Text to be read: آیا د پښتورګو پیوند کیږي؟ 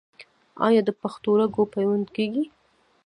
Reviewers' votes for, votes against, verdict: 1, 2, rejected